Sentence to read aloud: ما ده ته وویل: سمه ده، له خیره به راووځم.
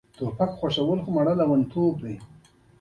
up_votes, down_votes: 2, 1